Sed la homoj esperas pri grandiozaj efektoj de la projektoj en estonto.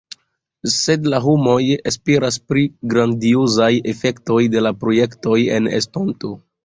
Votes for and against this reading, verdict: 1, 2, rejected